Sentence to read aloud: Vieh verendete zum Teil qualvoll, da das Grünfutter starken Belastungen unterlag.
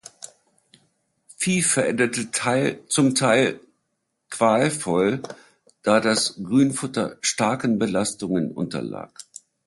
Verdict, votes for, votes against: rejected, 0, 2